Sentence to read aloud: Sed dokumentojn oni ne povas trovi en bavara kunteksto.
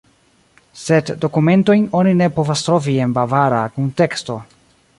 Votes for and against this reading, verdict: 1, 2, rejected